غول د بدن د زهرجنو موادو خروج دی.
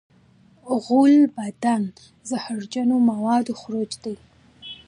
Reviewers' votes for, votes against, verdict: 2, 1, accepted